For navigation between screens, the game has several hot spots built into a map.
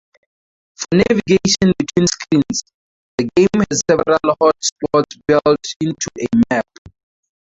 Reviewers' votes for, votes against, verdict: 0, 2, rejected